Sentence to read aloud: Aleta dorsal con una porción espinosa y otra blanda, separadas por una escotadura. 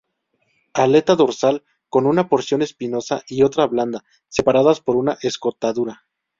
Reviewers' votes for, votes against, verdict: 4, 0, accepted